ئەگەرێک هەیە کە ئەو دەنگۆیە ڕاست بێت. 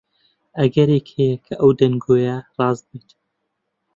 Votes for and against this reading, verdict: 2, 0, accepted